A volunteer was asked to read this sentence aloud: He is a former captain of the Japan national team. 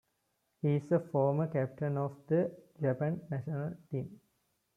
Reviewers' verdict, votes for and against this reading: rejected, 0, 2